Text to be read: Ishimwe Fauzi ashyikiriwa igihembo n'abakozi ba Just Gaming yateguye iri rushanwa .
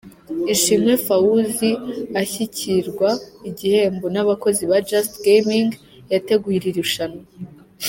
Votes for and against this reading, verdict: 2, 3, rejected